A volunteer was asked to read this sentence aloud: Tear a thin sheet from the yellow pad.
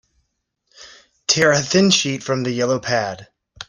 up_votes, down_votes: 2, 0